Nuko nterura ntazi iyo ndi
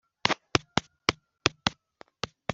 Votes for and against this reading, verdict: 1, 2, rejected